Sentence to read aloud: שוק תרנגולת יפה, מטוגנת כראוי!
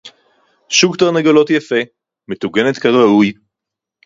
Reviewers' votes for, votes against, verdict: 2, 4, rejected